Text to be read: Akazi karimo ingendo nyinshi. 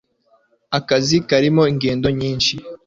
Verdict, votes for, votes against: accepted, 2, 0